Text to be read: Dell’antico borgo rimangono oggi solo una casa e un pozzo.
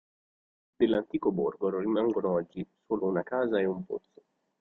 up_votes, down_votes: 0, 2